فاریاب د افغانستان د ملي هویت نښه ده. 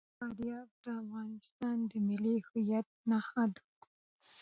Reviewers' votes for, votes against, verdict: 1, 2, rejected